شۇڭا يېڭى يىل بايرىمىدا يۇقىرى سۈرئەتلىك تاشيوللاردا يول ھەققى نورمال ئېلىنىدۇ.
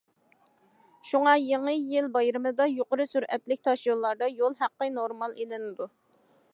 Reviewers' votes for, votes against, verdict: 2, 0, accepted